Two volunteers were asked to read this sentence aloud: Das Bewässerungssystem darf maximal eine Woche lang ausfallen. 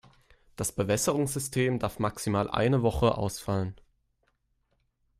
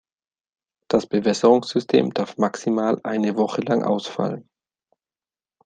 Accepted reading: second